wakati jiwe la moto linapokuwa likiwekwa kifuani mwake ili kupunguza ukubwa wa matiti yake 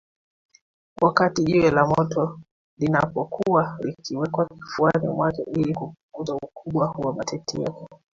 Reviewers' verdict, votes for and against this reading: accepted, 2, 1